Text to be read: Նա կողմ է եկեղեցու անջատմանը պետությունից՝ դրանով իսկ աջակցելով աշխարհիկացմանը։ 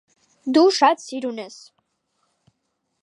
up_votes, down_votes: 0, 2